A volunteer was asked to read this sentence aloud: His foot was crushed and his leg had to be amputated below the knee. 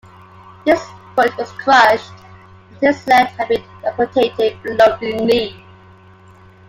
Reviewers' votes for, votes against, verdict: 2, 0, accepted